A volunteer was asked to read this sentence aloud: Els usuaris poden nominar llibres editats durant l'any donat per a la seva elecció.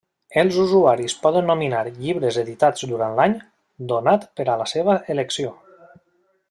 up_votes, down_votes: 1, 2